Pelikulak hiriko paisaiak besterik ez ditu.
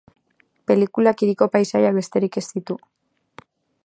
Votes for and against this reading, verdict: 2, 2, rejected